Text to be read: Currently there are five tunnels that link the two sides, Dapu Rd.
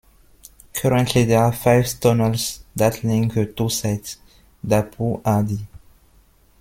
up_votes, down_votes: 0, 2